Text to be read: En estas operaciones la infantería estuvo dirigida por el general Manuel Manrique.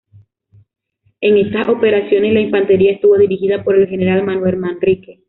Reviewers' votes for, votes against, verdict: 2, 0, accepted